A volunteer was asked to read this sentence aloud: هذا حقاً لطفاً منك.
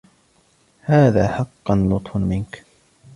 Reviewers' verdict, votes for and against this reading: accepted, 2, 1